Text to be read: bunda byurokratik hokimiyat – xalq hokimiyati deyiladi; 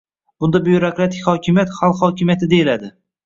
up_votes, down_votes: 1, 2